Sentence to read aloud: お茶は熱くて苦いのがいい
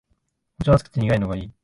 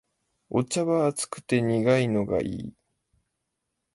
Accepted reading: second